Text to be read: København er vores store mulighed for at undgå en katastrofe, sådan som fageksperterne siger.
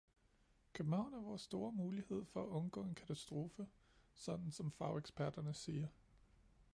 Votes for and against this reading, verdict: 2, 0, accepted